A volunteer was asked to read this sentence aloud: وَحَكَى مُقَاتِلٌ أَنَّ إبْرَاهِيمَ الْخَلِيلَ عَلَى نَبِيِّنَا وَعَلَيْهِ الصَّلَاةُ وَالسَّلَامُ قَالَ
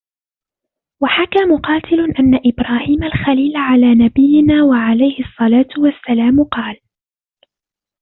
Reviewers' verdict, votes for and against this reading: rejected, 1, 2